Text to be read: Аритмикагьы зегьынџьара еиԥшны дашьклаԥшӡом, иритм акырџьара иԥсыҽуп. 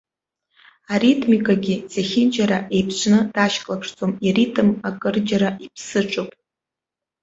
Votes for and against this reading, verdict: 2, 1, accepted